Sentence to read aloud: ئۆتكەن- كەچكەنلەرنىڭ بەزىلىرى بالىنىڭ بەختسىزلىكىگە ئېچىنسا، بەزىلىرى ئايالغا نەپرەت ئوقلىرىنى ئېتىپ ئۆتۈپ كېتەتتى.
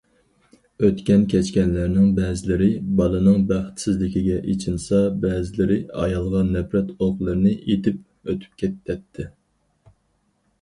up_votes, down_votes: 2, 4